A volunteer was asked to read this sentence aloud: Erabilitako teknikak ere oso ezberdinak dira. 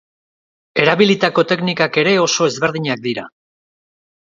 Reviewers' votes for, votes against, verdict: 2, 1, accepted